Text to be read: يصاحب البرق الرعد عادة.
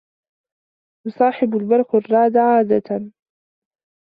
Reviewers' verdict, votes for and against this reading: accepted, 2, 0